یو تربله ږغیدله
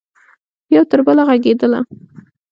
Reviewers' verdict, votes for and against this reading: rejected, 0, 2